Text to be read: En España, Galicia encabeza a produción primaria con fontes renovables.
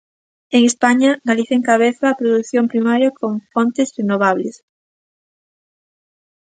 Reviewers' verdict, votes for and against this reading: accepted, 2, 0